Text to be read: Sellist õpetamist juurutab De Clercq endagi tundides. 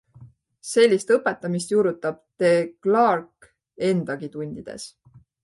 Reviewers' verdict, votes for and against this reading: accepted, 2, 0